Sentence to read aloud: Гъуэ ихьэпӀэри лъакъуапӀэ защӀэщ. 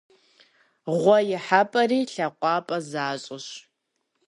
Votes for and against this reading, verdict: 2, 0, accepted